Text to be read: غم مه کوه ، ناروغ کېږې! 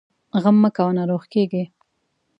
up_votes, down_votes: 2, 0